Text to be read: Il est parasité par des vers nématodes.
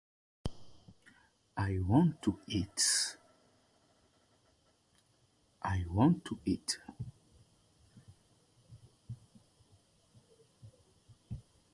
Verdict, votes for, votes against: rejected, 0, 2